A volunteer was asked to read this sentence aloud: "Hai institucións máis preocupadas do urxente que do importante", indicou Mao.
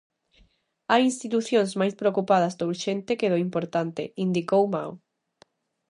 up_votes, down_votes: 2, 0